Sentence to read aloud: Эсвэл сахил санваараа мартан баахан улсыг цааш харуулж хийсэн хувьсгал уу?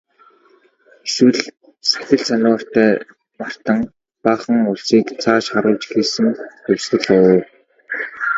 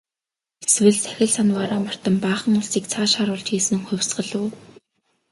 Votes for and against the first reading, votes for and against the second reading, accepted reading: 1, 2, 2, 0, second